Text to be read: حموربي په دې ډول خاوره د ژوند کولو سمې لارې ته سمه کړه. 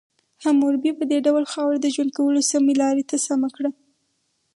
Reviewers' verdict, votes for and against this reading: accepted, 4, 0